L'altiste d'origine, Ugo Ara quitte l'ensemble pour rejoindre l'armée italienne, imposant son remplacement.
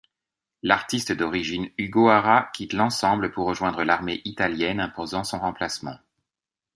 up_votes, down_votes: 0, 2